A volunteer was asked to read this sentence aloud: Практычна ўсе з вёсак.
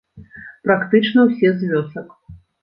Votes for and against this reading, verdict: 1, 2, rejected